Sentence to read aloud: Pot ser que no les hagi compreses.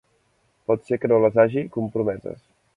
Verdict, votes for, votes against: rejected, 0, 2